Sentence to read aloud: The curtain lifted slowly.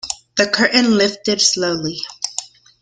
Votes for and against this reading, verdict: 2, 0, accepted